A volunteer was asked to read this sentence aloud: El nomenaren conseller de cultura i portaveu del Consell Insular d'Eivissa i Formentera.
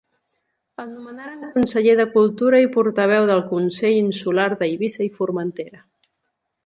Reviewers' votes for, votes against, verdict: 2, 1, accepted